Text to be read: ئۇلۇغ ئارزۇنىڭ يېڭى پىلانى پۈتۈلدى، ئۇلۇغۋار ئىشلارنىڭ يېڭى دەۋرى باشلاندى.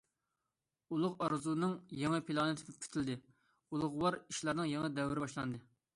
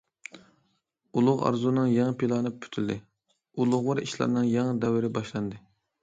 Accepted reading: second